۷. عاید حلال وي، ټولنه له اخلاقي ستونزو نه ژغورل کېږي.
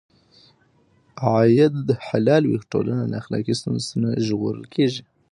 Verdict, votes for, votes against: rejected, 0, 2